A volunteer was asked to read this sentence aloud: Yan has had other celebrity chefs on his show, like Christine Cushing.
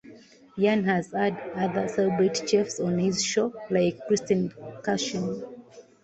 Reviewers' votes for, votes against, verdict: 0, 2, rejected